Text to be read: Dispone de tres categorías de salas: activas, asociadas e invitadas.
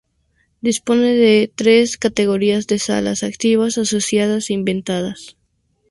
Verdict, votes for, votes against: rejected, 0, 2